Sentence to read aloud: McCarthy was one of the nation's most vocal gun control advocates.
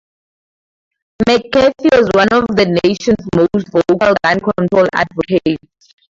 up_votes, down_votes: 0, 12